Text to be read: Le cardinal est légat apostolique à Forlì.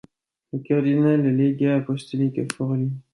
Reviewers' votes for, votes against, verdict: 2, 0, accepted